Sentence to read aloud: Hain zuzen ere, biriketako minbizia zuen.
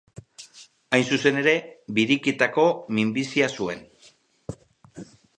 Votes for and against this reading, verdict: 8, 0, accepted